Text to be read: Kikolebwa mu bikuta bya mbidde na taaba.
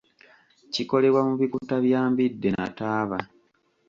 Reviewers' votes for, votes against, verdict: 2, 0, accepted